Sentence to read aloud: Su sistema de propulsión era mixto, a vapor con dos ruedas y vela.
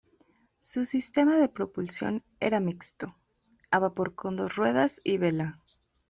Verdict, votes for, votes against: accepted, 2, 0